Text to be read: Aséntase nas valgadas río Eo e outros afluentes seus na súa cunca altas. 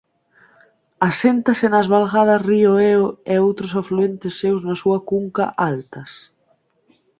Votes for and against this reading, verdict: 1, 2, rejected